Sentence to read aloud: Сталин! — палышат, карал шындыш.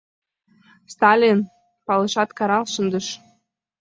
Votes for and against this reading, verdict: 2, 1, accepted